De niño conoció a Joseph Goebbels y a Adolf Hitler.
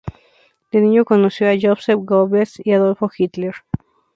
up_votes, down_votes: 2, 0